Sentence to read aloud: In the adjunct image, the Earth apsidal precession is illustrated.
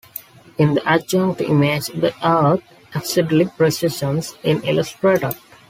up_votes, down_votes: 0, 2